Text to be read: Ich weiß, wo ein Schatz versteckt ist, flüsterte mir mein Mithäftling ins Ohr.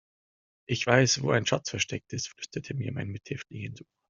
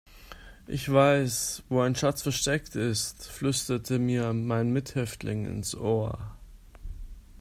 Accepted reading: second